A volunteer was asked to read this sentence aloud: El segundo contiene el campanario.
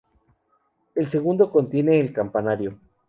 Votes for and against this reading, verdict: 2, 0, accepted